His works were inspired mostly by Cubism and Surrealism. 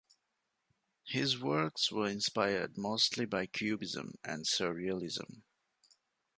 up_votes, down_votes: 2, 0